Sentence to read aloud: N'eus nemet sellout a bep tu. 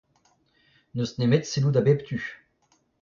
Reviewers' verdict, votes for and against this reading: rejected, 0, 2